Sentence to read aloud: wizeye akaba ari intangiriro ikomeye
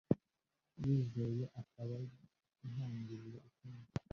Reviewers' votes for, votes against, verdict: 0, 2, rejected